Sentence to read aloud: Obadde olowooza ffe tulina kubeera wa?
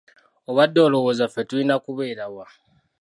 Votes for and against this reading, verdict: 3, 0, accepted